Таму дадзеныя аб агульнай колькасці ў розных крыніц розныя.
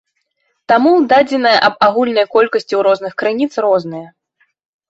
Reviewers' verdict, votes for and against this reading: accepted, 2, 0